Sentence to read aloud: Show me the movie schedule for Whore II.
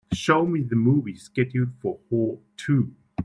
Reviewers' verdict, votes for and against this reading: accepted, 2, 0